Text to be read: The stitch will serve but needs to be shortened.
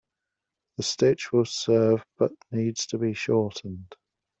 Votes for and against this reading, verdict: 2, 0, accepted